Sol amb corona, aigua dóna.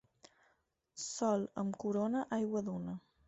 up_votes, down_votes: 4, 0